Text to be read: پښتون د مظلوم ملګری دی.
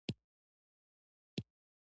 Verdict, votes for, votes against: accepted, 2, 0